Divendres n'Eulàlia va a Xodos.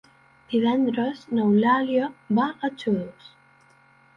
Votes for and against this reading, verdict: 3, 0, accepted